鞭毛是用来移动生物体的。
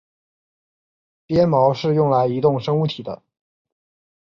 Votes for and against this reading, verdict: 6, 0, accepted